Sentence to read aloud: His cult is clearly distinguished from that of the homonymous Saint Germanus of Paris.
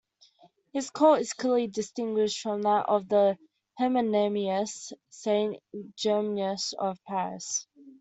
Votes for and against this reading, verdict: 0, 2, rejected